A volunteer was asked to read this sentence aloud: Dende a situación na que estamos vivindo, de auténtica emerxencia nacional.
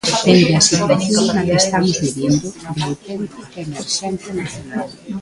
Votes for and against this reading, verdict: 0, 2, rejected